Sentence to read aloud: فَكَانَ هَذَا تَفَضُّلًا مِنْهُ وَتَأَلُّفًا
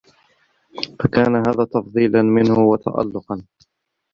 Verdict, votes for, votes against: rejected, 0, 2